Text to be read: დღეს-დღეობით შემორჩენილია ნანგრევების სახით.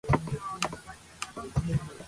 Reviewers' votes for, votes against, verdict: 0, 2, rejected